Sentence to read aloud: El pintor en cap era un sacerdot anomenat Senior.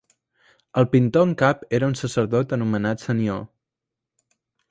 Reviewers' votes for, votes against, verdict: 0, 2, rejected